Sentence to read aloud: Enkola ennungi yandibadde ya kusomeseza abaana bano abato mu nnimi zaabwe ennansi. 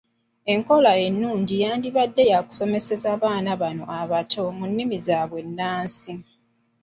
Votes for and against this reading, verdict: 2, 0, accepted